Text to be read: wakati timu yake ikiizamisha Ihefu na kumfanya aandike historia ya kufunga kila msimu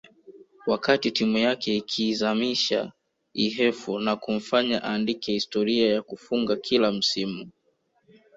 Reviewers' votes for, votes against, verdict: 1, 2, rejected